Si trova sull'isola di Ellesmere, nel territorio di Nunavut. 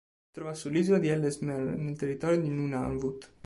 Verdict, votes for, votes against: rejected, 1, 4